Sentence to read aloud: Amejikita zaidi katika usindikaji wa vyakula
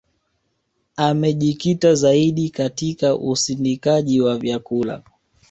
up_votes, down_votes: 1, 2